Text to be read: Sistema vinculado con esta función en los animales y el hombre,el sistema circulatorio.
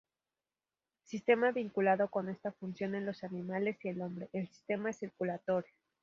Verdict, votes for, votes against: rejected, 2, 2